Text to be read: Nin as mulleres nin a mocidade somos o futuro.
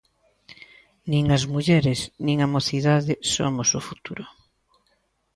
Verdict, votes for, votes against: accepted, 2, 0